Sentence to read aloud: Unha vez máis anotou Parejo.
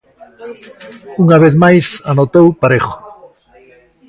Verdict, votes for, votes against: accepted, 2, 0